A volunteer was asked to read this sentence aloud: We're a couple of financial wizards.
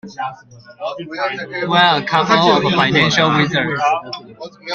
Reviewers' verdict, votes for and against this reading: rejected, 1, 2